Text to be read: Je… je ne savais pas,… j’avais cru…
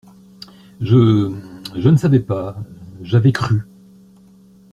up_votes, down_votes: 2, 0